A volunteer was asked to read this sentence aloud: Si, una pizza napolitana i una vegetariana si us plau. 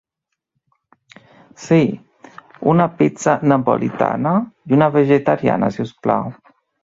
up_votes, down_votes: 3, 0